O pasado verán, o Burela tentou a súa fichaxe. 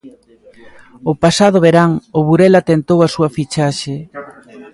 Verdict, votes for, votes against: accepted, 2, 0